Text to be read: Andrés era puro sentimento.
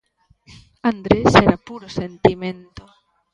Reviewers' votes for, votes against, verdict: 2, 0, accepted